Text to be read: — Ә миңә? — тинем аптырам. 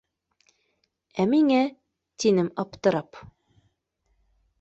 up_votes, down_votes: 2, 0